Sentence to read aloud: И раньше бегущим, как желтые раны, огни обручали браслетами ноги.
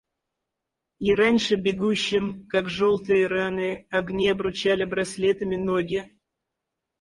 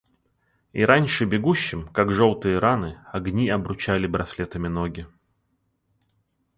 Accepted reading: second